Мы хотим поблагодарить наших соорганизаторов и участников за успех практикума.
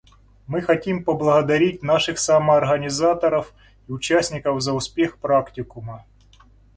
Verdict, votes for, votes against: rejected, 0, 2